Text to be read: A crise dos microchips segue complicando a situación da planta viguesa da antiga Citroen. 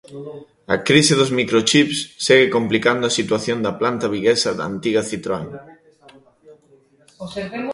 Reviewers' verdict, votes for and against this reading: rejected, 1, 2